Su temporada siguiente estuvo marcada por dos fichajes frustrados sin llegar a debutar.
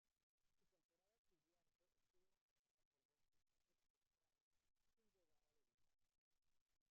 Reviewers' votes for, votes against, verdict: 0, 2, rejected